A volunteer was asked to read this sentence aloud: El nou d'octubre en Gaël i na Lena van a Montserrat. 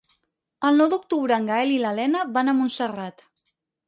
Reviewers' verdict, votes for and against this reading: rejected, 0, 4